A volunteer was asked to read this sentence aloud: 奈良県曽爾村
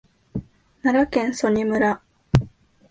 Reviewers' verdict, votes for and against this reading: accepted, 2, 0